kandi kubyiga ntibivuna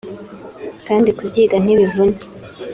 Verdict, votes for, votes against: accepted, 2, 0